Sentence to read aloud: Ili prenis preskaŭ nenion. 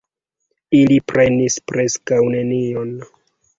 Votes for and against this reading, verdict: 2, 0, accepted